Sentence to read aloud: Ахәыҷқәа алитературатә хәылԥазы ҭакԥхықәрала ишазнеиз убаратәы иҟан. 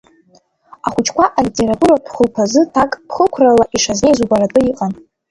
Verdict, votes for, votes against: accepted, 2, 1